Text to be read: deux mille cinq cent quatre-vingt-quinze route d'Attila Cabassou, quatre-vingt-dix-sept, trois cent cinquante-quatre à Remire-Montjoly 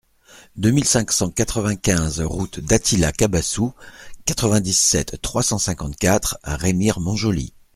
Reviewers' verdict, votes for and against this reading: accepted, 2, 0